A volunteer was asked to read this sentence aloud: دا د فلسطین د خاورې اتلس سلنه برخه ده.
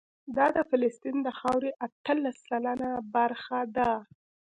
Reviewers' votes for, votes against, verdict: 2, 0, accepted